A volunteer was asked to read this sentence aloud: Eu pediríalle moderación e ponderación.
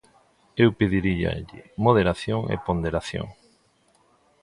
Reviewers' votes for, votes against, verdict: 2, 0, accepted